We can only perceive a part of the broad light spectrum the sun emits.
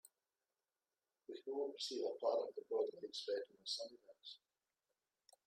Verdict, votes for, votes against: rejected, 0, 2